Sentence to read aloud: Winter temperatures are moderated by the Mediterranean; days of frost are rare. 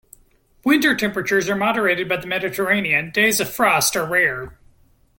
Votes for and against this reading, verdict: 2, 1, accepted